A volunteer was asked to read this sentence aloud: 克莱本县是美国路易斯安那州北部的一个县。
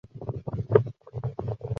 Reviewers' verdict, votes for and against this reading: rejected, 0, 2